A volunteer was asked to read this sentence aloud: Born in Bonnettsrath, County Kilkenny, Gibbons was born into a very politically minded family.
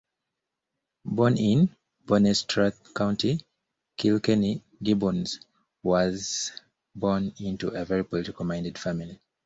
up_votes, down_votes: 0, 2